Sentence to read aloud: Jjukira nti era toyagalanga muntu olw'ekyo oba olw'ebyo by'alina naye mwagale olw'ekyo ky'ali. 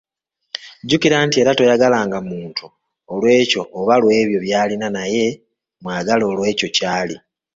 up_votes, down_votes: 2, 0